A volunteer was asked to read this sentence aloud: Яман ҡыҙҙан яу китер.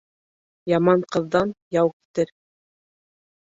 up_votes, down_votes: 1, 2